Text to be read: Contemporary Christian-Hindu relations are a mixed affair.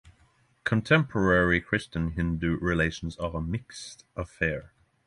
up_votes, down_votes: 6, 0